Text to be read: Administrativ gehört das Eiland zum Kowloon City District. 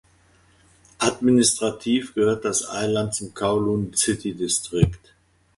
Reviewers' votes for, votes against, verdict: 1, 2, rejected